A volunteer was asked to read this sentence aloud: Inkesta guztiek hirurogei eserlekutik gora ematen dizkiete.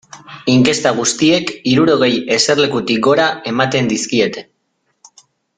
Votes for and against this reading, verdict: 2, 0, accepted